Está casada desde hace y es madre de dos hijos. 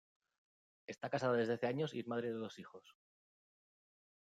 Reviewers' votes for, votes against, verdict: 0, 2, rejected